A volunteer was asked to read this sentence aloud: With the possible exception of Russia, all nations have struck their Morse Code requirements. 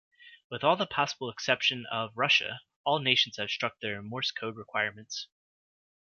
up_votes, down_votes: 1, 2